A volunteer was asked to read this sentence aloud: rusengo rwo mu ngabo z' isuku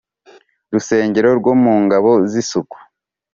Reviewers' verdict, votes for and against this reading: accepted, 5, 0